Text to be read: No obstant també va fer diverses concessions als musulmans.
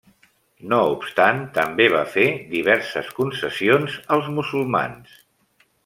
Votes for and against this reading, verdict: 1, 2, rejected